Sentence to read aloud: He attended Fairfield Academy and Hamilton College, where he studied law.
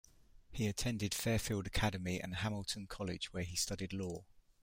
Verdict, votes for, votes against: accepted, 2, 0